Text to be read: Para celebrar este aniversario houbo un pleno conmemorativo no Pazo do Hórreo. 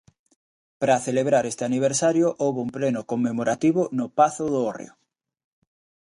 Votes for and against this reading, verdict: 2, 0, accepted